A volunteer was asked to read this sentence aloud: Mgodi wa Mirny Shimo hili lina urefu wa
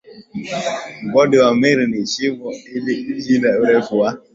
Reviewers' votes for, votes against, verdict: 0, 2, rejected